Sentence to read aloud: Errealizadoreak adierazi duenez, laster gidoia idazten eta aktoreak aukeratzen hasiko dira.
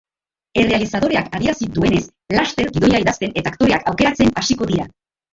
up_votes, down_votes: 0, 3